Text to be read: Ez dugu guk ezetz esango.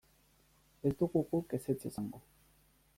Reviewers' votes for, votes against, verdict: 0, 2, rejected